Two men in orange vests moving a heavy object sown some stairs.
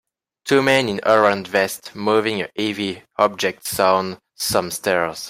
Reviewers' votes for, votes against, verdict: 2, 0, accepted